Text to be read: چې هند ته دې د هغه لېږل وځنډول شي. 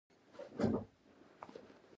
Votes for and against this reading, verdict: 0, 2, rejected